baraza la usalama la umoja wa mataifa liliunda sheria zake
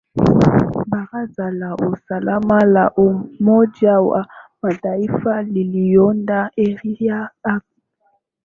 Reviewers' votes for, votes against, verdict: 6, 7, rejected